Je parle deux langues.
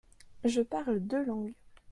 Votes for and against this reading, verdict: 2, 0, accepted